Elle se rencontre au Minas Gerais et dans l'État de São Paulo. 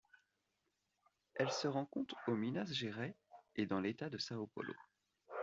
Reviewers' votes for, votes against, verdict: 1, 2, rejected